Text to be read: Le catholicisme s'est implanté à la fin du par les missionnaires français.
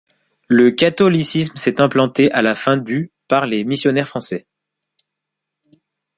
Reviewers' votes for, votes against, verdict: 2, 0, accepted